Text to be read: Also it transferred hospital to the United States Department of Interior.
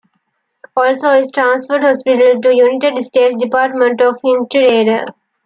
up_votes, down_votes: 1, 2